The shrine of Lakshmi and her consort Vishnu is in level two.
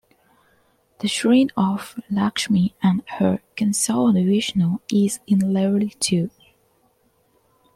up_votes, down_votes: 0, 2